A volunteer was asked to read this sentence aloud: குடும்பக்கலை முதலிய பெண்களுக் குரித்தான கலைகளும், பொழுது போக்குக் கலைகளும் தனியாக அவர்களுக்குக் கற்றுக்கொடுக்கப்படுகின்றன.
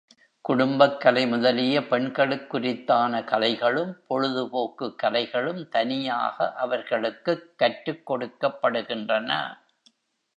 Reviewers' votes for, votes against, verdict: 3, 0, accepted